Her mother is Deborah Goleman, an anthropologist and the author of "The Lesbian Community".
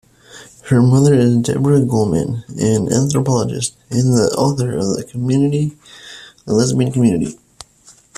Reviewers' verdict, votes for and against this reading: rejected, 1, 2